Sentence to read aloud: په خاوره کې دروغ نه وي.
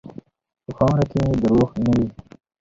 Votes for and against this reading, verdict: 2, 0, accepted